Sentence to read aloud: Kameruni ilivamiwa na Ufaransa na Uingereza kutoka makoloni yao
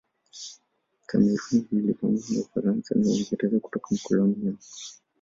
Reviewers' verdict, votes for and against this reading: rejected, 1, 2